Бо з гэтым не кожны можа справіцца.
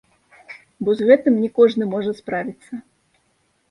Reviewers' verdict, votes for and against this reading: rejected, 1, 2